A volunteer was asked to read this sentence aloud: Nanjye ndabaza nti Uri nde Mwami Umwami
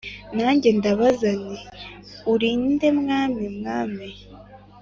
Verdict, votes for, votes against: accepted, 2, 0